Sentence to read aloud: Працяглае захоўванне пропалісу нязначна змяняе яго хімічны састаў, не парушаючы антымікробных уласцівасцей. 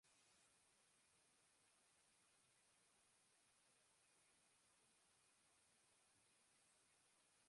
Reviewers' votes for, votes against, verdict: 0, 3, rejected